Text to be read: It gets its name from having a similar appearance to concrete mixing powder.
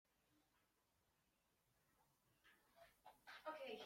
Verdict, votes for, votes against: rejected, 1, 2